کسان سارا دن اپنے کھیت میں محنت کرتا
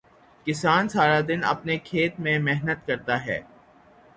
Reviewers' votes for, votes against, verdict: 3, 0, accepted